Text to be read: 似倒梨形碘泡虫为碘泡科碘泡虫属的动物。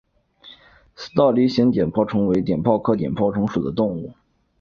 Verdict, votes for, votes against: accepted, 4, 0